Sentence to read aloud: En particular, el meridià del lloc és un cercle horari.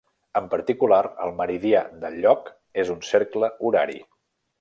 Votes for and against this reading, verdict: 3, 0, accepted